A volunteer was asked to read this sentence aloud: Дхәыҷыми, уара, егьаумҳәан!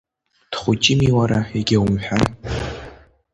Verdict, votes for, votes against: rejected, 1, 2